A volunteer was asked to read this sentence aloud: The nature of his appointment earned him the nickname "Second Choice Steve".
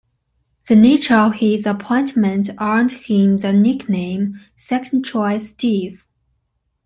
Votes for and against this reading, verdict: 2, 0, accepted